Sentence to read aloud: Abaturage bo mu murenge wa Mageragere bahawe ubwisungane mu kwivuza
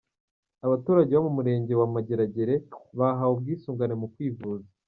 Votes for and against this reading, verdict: 1, 2, rejected